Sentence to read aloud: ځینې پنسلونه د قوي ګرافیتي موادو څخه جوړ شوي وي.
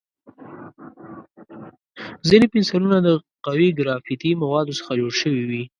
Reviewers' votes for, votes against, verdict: 2, 0, accepted